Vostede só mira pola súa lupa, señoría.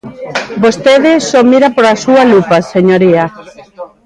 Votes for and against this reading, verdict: 0, 3, rejected